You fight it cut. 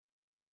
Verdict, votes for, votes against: rejected, 0, 2